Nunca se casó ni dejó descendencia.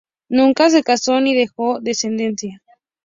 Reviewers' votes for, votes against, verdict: 2, 0, accepted